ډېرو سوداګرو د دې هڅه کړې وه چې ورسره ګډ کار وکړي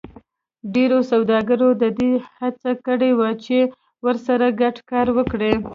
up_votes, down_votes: 0, 2